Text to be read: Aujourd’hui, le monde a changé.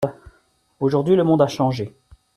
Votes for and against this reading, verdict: 2, 0, accepted